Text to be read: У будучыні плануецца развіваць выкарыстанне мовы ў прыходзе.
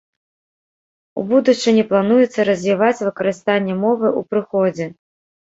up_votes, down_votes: 2, 0